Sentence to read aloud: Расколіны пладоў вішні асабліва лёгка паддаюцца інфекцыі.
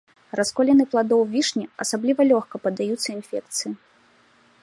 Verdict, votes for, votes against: accepted, 2, 0